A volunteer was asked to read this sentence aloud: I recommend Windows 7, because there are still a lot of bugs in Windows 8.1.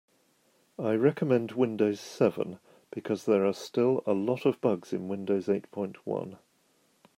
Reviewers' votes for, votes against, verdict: 0, 2, rejected